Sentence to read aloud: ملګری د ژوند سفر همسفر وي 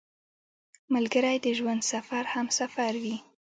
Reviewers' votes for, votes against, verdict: 1, 2, rejected